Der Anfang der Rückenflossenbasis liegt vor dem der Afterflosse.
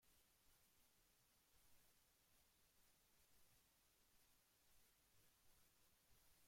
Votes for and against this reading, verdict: 0, 2, rejected